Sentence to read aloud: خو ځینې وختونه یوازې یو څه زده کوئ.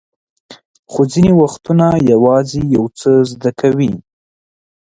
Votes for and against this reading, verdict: 1, 2, rejected